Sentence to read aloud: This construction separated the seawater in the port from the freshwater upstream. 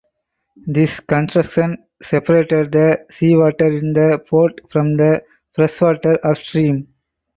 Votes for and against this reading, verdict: 4, 2, accepted